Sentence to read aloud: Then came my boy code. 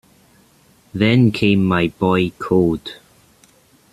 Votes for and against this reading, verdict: 2, 0, accepted